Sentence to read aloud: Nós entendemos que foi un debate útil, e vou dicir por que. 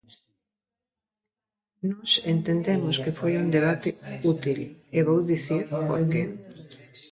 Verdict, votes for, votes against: rejected, 0, 2